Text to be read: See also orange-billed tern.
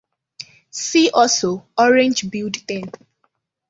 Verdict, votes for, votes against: accepted, 2, 1